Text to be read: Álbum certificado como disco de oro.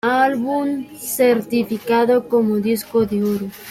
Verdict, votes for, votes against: rejected, 0, 2